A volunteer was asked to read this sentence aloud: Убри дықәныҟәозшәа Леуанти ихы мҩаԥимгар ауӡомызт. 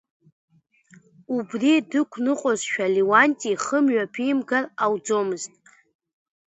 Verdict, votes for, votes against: accepted, 2, 0